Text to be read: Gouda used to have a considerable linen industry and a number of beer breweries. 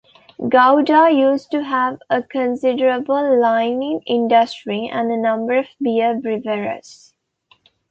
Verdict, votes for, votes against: rejected, 0, 2